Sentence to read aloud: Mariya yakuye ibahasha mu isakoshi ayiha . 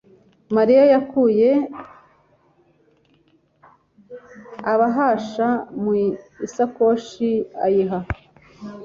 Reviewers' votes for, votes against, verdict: 0, 2, rejected